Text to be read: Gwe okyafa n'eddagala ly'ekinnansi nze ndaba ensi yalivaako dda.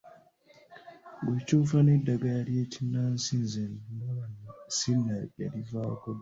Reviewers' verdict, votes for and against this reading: rejected, 1, 2